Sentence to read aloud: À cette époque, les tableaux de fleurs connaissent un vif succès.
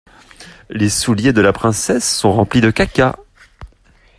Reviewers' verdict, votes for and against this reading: rejected, 0, 2